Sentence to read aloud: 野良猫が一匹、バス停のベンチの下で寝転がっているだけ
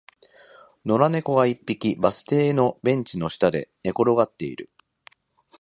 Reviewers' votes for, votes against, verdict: 0, 2, rejected